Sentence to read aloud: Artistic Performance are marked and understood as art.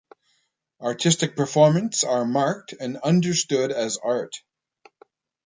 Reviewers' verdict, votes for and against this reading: accepted, 2, 0